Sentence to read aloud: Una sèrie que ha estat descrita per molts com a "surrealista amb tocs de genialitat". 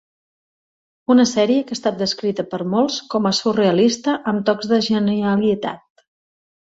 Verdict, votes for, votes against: rejected, 1, 2